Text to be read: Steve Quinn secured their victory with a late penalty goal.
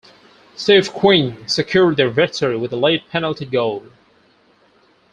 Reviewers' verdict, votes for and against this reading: accepted, 4, 0